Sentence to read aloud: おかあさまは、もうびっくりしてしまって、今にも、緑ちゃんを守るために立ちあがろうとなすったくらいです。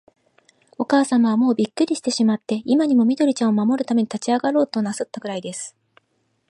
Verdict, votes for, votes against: accepted, 2, 0